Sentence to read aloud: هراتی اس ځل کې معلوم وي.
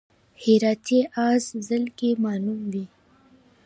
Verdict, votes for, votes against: accepted, 2, 0